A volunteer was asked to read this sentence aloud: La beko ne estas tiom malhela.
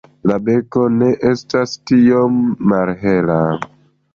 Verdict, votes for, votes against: accepted, 2, 1